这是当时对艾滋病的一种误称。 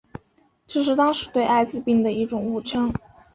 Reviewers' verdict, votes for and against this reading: accepted, 2, 0